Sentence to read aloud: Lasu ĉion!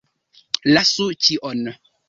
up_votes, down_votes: 2, 0